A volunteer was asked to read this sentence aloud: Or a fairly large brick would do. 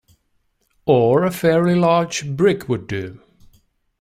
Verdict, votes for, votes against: accepted, 2, 0